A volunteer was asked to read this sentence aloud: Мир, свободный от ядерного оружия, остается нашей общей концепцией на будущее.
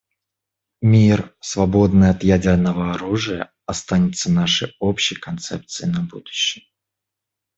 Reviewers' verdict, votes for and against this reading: rejected, 1, 2